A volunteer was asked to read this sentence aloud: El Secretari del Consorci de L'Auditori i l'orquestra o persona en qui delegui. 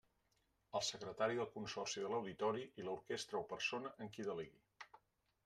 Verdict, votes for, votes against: accepted, 2, 0